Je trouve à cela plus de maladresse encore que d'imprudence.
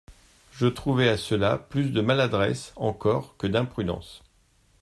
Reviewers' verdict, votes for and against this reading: rejected, 0, 2